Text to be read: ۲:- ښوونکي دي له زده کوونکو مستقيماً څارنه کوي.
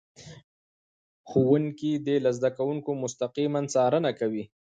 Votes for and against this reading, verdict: 0, 2, rejected